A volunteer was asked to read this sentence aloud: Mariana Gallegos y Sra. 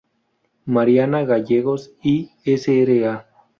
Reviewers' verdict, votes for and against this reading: rejected, 0, 2